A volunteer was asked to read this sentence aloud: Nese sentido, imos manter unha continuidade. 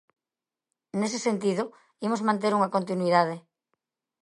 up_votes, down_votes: 2, 0